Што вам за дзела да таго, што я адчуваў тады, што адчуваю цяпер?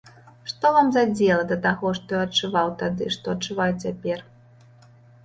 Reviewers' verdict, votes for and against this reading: accepted, 2, 0